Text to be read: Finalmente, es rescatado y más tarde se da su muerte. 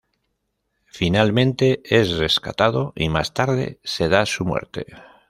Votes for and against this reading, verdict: 2, 0, accepted